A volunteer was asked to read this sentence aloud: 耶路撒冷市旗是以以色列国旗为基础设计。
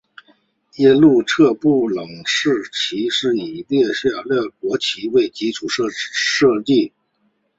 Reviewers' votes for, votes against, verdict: 1, 2, rejected